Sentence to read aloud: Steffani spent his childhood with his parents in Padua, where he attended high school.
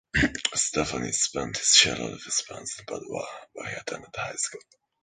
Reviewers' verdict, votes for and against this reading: rejected, 1, 2